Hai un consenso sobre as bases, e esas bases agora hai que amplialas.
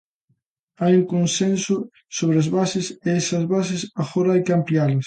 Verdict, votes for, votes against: accepted, 2, 0